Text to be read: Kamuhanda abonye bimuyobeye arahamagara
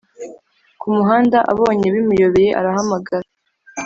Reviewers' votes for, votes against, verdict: 0, 2, rejected